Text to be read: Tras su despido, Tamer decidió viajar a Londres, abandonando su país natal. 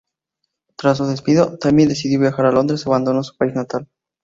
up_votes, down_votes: 0, 2